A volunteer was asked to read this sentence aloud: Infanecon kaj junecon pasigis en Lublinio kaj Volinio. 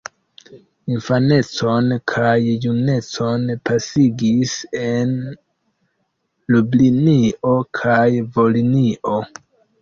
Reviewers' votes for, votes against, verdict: 2, 1, accepted